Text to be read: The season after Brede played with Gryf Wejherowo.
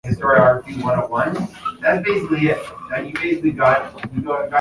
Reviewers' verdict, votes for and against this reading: rejected, 0, 2